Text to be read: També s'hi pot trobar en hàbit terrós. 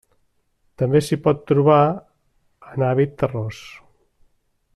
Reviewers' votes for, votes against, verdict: 3, 1, accepted